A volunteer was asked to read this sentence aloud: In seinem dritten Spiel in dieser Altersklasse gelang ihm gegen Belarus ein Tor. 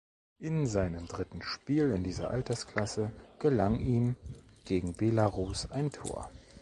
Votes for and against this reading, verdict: 2, 0, accepted